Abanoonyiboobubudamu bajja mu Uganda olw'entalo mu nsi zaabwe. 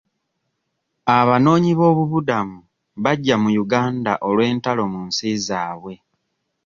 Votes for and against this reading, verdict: 2, 0, accepted